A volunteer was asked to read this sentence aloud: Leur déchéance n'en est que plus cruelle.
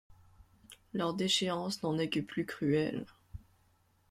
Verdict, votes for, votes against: accepted, 2, 0